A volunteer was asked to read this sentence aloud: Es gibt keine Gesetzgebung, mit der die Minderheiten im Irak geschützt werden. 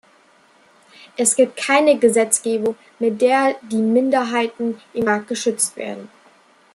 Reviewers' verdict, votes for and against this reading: rejected, 1, 2